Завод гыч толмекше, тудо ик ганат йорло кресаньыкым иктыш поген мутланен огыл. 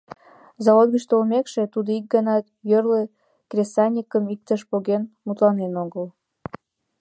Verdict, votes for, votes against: rejected, 1, 2